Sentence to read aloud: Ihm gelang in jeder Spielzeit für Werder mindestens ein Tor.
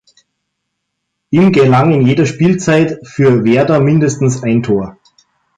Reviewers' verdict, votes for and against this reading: accepted, 2, 0